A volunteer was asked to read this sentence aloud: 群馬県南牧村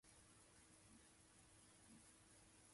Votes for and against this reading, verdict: 2, 12, rejected